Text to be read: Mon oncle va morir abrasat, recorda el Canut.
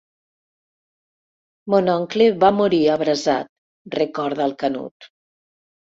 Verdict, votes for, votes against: accepted, 3, 0